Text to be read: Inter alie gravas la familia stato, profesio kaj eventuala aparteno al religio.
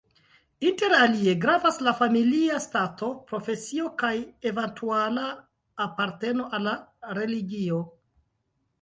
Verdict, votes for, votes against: rejected, 0, 2